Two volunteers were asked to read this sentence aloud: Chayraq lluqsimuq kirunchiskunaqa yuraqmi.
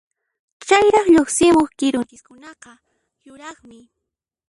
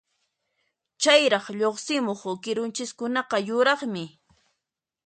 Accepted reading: second